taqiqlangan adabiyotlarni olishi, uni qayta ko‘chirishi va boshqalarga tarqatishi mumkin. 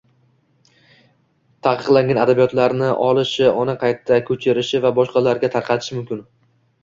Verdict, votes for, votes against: accepted, 2, 0